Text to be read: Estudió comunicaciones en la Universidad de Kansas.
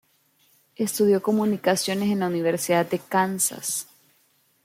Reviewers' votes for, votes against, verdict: 1, 2, rejected